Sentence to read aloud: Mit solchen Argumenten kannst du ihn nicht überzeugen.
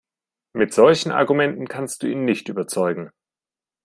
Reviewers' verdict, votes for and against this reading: accepted, 2, 0